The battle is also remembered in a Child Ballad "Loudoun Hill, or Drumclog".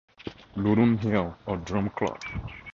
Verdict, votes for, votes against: rejected, 0, 4